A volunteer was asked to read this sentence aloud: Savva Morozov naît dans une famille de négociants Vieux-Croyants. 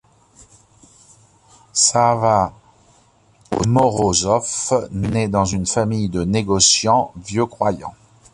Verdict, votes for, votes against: rejected, 1, 2